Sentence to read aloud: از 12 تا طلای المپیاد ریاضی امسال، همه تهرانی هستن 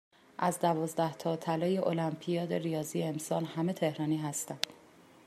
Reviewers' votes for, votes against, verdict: 0, 2, rejected